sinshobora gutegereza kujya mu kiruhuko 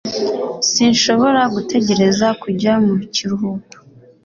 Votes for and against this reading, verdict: 2, 0, accepted